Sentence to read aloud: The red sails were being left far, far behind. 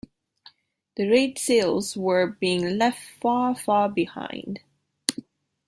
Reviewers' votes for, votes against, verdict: 2, 0, accepted